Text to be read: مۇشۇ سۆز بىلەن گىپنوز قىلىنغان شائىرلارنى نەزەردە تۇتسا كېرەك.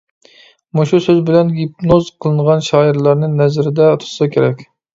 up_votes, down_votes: 0, 2